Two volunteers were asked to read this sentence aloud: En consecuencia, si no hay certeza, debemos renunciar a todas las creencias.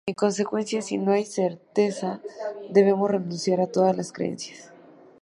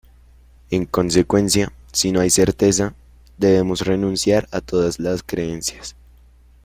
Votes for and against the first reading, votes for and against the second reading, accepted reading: 2, 0, 1, 2, first